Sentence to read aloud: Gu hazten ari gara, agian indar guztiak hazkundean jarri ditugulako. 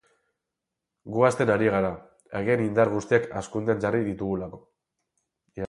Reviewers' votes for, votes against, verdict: 2, 4, rejected